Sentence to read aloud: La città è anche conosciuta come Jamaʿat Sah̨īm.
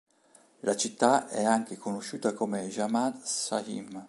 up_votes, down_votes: 2, 1